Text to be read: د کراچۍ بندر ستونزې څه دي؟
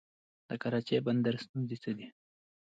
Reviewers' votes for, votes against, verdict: 2, 0, accepted